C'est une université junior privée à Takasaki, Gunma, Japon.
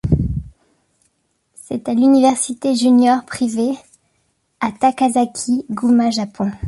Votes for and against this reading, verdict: 0, 2, rejected